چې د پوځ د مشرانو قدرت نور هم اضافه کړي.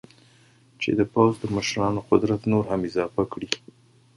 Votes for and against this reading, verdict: 2, 1, accepted